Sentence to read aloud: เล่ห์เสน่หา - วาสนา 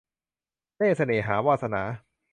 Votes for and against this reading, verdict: 2, 0, accepted